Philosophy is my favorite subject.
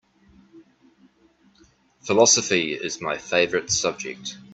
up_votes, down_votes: 2, 0